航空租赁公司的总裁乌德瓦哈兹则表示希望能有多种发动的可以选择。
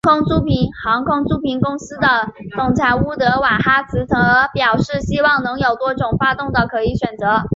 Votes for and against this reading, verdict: 2, 0, accepted